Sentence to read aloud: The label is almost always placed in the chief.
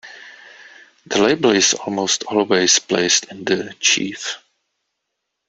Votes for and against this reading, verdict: 2, 1, accepted